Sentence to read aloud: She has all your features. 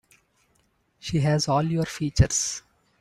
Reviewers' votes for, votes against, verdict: 2, 0, accepted